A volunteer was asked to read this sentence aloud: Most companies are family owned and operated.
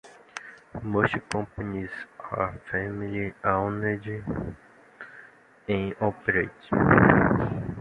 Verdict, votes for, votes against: accepted, 2, 1